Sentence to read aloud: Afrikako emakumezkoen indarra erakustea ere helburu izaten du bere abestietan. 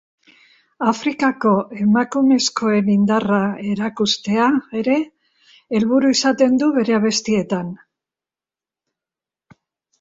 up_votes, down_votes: 2, 1